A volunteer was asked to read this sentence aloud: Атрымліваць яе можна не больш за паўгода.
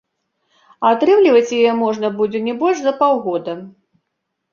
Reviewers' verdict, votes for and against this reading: rejected, 0, 2